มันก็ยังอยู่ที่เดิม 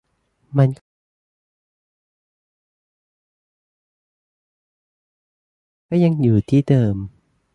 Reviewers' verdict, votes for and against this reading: rejected, 0, 2